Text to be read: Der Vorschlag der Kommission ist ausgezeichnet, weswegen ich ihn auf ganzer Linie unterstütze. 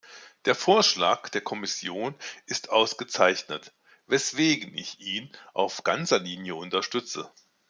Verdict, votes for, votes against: accepted, 2, 0